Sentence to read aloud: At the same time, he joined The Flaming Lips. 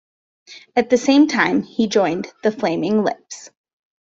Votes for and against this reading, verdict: 2, 0, accepted